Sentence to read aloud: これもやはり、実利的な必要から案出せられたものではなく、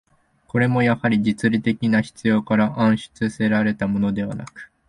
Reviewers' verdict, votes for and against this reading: rejected, 0, 2